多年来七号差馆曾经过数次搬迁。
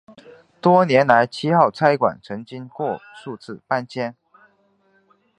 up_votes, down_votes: 2, 1